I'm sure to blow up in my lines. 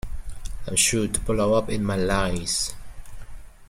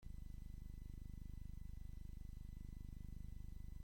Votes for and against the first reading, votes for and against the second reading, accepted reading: 2, 0, 0, 2, first